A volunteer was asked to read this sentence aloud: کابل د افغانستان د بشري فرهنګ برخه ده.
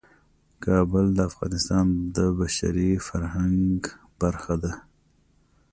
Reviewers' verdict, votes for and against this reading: accepted, 2, 0